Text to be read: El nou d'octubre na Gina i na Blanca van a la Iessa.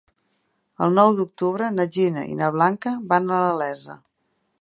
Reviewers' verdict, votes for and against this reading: accepted, 3, 0